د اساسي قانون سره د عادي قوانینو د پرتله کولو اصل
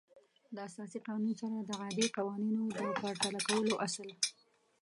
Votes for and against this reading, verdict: 0, 2, rejected